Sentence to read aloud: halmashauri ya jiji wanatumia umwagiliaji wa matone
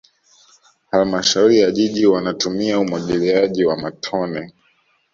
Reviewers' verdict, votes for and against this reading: accepted, 2, 1